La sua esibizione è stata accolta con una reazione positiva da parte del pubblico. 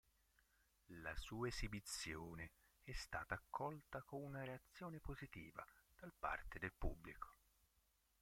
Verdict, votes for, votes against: rejected, 1, 4